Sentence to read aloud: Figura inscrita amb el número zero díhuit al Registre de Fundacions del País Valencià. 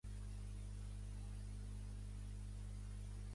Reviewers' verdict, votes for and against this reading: rejected, 0, 2